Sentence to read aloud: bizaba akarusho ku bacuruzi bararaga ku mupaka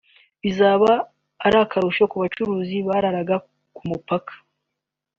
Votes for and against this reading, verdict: 1, 2, rejected